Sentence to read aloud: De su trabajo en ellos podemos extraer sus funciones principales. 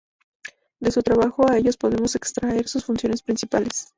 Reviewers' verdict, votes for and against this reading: rejected, 0, 2